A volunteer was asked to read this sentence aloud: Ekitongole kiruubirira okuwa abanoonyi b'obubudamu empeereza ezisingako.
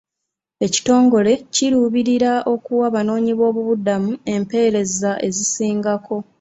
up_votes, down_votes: 2, 0